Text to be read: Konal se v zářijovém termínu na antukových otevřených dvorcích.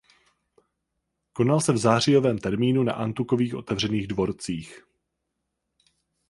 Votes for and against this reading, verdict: 4, 0, accepted